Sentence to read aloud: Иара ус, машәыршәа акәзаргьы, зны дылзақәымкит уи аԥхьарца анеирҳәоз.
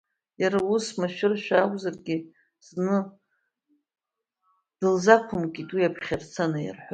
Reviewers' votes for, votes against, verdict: 1, 2, rejected